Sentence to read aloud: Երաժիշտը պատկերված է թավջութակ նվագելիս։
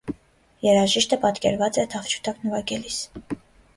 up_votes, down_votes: 2, 0